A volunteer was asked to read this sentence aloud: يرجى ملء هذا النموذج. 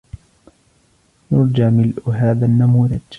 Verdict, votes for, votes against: rejected, 0, 2